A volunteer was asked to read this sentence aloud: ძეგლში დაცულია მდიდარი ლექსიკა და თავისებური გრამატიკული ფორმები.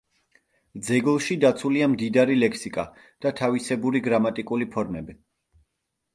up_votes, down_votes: 2, 0